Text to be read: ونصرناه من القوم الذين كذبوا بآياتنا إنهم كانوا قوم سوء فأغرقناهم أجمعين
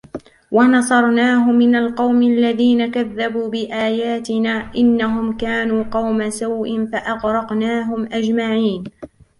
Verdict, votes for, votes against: rejected, 0, 2